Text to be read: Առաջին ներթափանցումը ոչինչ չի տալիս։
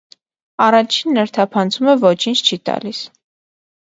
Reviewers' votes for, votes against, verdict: 2, 0, accepted